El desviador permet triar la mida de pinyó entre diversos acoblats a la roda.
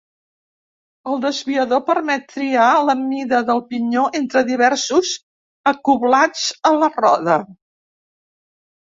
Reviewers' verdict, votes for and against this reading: rejected, 1, 2